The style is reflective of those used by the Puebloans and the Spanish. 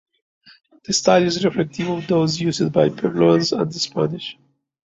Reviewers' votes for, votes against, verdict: 0, 2, rejected